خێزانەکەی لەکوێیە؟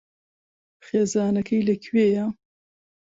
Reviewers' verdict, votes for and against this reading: accepted, 2, 0